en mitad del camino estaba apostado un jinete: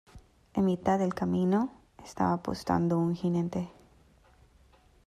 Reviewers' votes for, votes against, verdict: 1, 2, rejected